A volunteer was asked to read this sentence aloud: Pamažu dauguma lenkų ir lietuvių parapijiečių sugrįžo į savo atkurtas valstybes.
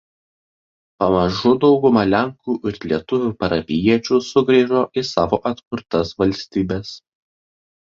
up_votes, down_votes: 2, 0